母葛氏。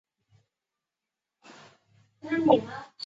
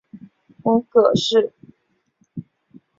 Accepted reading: second